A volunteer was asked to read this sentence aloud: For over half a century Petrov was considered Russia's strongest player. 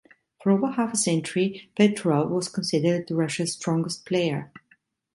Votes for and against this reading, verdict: 2, 0, accepted